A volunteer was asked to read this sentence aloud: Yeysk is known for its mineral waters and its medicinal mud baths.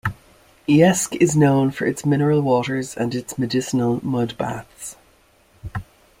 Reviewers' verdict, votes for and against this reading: accepted, 2, 0